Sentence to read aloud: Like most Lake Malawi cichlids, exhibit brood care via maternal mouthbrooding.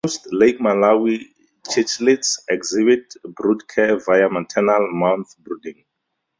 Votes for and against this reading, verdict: 2, 0, accepted